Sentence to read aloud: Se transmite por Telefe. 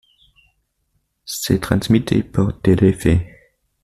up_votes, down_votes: 2, 0